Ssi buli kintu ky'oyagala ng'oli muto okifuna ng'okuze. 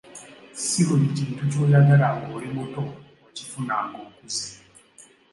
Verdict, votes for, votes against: accepted, 2, 0